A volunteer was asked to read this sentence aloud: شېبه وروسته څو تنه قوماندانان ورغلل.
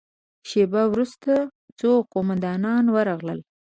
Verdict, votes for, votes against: rejected, 2, 3